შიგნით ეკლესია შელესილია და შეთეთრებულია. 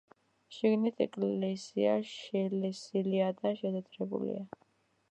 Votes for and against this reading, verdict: 2, 0, accepted